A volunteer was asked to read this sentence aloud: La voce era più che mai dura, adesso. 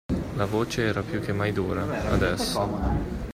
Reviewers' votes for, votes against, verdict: 2, 0, accepted